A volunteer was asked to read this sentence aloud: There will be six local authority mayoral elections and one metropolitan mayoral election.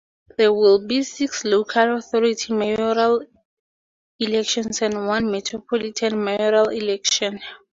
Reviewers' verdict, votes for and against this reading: accepted, 4, 0